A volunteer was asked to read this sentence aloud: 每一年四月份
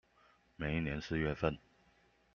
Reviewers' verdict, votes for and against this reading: accepted, 2, 0